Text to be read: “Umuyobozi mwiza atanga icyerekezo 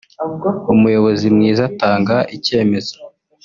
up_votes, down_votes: 1, 2